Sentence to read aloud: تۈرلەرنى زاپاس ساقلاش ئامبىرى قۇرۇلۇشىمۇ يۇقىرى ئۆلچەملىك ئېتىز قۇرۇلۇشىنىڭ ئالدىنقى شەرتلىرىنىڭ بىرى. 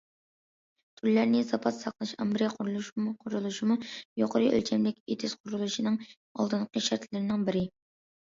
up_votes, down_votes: 0, 2